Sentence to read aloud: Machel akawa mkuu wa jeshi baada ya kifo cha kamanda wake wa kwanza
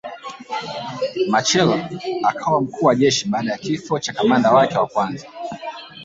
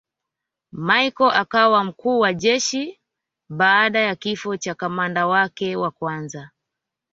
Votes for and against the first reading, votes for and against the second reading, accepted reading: 0, 3, 2, 0, second